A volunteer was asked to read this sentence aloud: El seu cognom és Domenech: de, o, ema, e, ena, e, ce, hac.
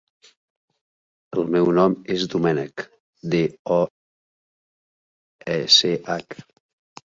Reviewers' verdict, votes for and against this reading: rejected, 0, 2